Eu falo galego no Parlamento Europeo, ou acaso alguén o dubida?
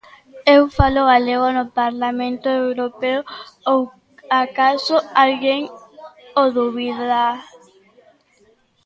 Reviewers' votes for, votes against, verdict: 1, 2, rejected